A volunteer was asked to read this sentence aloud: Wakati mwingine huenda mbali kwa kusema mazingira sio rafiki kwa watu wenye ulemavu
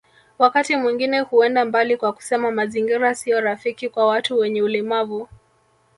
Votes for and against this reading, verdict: 2, 1, accepted